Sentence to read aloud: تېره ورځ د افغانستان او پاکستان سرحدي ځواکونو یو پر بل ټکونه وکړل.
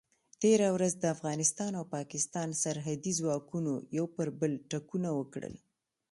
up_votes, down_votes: 2, 0